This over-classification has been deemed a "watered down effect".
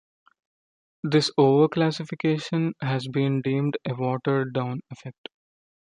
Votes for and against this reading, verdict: 2, 0, accepted